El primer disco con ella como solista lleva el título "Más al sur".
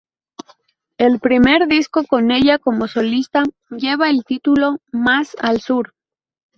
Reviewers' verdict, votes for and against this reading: accepted, 2, 0